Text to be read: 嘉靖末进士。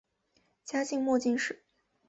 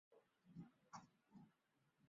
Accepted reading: first